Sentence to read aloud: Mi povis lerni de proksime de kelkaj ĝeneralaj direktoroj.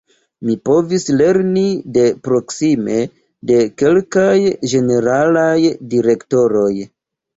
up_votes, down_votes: 2, 1